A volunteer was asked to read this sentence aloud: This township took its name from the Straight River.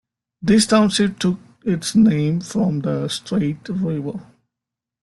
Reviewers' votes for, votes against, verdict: 1, 2, rejected